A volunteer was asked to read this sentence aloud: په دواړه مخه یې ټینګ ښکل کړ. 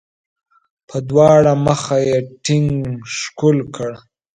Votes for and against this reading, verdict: 2, 0, accepted